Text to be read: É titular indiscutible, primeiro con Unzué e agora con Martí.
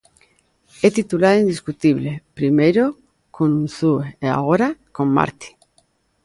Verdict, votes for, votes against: rejected, 0, 2